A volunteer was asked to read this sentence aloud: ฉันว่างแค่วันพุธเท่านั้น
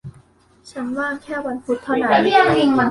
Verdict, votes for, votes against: rejected, 1, 3